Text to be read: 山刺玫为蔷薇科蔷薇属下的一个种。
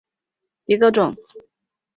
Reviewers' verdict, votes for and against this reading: rejected, 2, 3